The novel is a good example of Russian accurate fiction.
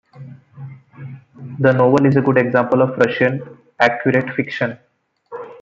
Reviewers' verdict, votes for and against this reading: accepted, 2, 0